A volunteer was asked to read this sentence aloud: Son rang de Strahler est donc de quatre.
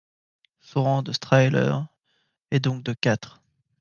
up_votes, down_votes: 2, 1